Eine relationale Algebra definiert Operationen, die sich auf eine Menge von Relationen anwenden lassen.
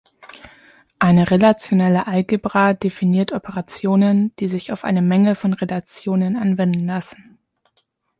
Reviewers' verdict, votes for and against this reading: rejected, 0, 2